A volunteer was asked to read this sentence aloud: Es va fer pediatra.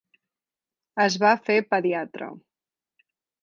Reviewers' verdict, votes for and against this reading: accepted, 2, 0